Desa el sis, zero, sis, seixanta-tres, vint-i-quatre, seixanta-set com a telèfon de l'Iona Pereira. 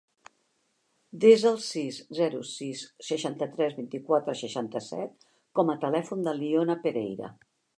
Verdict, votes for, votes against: accepted, 3, 0